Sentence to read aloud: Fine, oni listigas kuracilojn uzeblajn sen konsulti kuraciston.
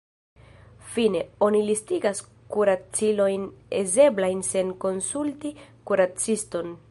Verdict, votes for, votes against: rejected, 0, 2